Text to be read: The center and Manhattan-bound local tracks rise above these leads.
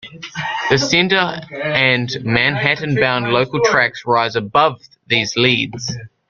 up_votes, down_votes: 1, 2